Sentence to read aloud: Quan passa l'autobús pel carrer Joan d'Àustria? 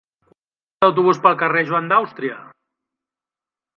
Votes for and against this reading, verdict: 0, 6, rejected